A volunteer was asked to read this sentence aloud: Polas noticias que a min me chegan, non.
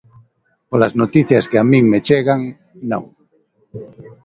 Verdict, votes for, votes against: accepted, 2, 0